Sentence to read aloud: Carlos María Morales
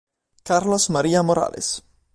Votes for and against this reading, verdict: 2, 0, accepted